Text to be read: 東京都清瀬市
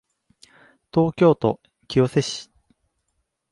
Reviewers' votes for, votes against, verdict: 2, 0, accepted